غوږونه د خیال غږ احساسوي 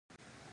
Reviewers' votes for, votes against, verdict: 0, 4, rejected